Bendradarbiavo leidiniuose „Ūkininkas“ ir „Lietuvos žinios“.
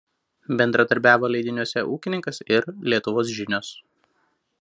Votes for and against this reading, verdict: 2, 0, accepted